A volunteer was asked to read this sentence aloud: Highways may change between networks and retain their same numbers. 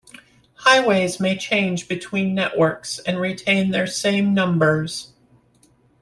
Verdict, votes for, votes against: accepted, 2, 0